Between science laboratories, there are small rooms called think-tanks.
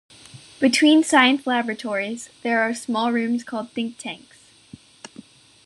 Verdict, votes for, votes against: accepted, 2, 0